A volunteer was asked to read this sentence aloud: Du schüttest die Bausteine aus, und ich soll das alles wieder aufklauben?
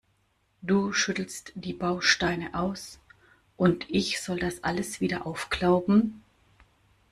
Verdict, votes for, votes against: rejected, 0, 2